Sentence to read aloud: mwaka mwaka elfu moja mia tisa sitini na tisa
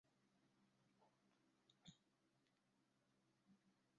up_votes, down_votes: 0, 2